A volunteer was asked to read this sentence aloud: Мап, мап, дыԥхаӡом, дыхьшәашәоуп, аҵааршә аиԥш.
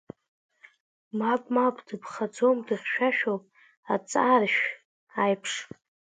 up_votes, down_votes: 2, 1